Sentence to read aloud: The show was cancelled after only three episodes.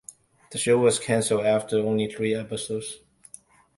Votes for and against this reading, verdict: 1, 2, rejected